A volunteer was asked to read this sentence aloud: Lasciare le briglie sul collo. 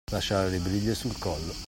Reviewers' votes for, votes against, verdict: 2, 0, accepted